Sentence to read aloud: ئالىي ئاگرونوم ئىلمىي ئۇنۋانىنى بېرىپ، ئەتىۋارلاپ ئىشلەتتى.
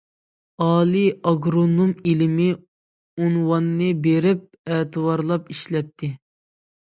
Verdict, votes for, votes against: rejected, 0, 2